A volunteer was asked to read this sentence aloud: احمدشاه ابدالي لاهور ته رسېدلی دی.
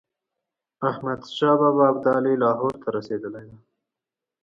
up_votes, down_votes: 2, 0